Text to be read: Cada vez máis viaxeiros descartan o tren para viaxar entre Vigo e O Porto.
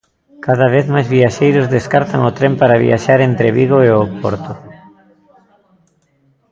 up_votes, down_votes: 1, 2